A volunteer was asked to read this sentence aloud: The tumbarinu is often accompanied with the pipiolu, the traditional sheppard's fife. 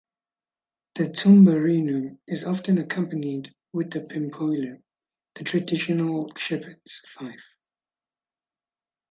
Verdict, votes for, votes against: rejected, 0, 4